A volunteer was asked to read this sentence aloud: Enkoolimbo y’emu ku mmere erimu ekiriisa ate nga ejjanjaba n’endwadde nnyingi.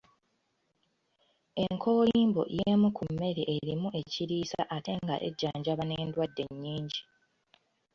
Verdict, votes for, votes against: rejected, 0, 2